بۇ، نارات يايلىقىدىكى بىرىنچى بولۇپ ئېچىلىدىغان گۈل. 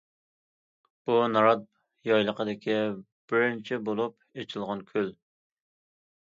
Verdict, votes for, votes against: accepted, 2, 0